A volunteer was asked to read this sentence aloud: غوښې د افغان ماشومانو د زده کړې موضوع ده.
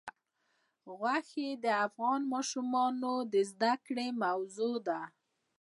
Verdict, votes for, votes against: accepted, 2, 0